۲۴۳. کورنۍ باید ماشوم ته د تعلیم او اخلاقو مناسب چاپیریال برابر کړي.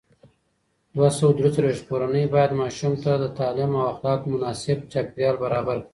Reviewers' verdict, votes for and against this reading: rejected, 0, 2